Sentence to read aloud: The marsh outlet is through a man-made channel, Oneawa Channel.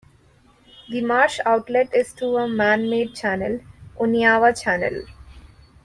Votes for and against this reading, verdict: 2, 0, accepted